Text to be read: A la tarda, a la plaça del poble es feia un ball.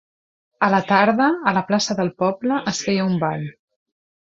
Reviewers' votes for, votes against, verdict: 2, 0, accepted